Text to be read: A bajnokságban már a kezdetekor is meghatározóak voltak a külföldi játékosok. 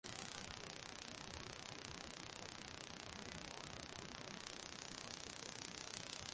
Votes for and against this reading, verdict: 0, 2, rejected